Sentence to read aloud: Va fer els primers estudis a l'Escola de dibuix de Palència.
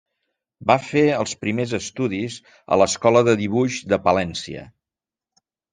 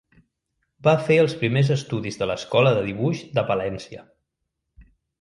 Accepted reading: first